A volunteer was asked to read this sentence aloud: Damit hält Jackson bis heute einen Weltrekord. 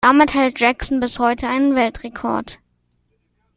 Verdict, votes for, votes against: accepted, 2, 0